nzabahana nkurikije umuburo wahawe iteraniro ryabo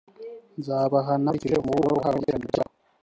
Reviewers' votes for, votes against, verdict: 1, 3, rejected